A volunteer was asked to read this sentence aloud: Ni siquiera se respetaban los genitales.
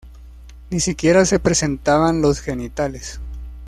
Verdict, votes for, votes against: rejected, 0, 2